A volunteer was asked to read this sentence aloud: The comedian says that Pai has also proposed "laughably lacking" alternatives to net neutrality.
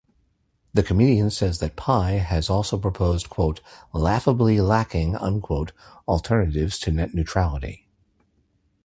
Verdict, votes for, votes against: accepted, 2, 0